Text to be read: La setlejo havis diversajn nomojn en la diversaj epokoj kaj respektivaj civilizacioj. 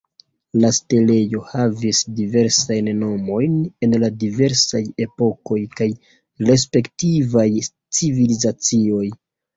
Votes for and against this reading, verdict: 0, 2, rejected